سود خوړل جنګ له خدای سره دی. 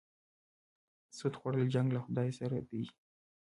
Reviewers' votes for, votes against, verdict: 2, 1, accepted